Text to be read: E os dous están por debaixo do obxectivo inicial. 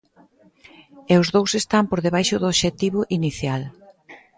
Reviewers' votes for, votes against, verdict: 2, 0, accepted